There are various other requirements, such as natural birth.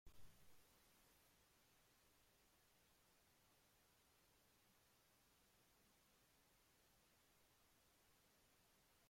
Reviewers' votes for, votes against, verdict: 0, 2, rejected